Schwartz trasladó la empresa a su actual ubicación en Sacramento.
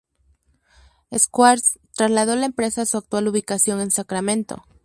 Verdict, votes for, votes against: rejected, 2, 2